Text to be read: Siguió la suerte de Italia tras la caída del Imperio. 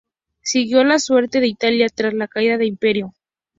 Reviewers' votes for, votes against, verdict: 2, 0, accepted